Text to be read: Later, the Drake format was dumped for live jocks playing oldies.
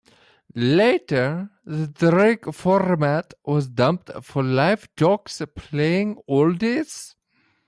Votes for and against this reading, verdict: 0, 2, rejected